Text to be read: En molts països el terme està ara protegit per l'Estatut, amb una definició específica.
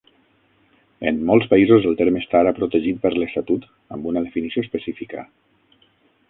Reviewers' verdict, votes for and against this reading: rejected, 3, 6